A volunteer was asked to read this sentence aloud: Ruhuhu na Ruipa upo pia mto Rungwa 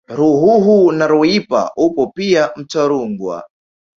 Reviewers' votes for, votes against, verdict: 1, 2, rejected